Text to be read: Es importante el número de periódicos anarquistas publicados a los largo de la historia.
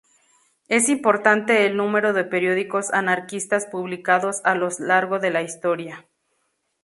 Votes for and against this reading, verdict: 0, 2, rejected